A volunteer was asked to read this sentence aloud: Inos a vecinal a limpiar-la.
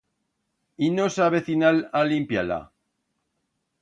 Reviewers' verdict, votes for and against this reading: rejected, 1, 2